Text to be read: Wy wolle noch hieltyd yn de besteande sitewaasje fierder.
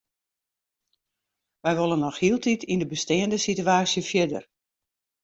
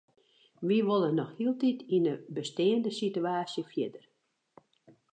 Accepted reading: first